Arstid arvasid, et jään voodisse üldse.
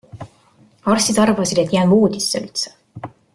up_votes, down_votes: 2, 0